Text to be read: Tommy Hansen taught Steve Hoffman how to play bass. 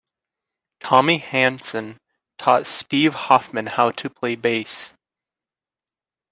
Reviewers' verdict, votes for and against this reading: accepted, 2, 0